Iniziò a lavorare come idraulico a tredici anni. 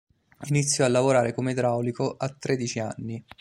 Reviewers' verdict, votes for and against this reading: accepted, 2, 0